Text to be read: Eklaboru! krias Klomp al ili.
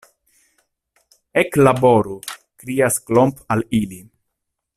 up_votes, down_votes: 2, 0